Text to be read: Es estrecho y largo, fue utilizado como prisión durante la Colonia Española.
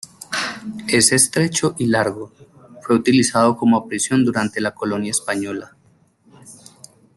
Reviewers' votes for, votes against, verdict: 2, 0, accepted